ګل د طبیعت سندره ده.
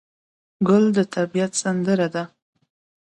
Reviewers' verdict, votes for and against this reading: accepted, 2, 0